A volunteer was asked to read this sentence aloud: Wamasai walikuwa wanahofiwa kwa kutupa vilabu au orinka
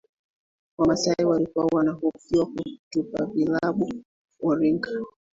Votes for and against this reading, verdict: 0, 2, rejected